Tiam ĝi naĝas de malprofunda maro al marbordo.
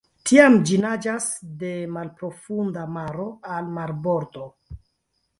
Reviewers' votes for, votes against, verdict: 1, 3, rejected